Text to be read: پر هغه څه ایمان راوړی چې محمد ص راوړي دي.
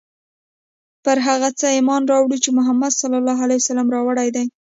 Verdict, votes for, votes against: accepted, 2, 0